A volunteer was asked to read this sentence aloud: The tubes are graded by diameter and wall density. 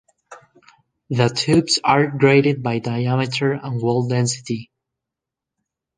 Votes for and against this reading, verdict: 2, 0, accepted